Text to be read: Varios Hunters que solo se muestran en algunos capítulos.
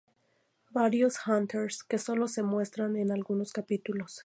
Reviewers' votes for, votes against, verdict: 2, 0, accepted